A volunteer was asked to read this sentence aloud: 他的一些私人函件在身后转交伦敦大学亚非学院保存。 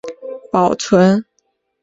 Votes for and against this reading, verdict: 0, 2, rejected